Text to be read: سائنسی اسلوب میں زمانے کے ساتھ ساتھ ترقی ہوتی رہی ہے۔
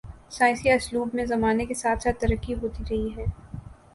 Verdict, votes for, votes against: accepted, 2, 0